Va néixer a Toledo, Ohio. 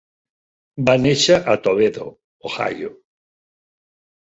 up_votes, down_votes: 3, 0